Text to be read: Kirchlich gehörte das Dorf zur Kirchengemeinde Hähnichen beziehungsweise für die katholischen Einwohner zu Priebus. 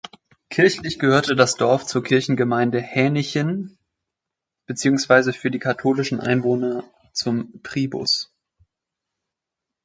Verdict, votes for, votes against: rejected, 0, 2